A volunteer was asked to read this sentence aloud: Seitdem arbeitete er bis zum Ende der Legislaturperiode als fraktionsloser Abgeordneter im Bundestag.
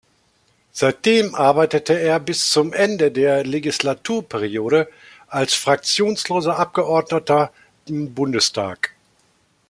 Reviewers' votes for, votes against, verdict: 2, 0, accepted